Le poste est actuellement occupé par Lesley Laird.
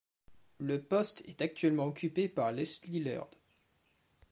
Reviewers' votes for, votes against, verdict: 2, 0, accepted